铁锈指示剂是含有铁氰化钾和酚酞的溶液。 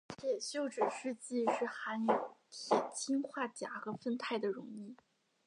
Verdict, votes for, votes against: accepted, 2, 0